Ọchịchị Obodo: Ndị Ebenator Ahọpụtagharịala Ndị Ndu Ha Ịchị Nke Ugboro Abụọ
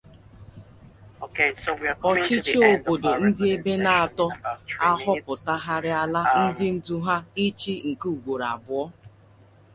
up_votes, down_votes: 0, 2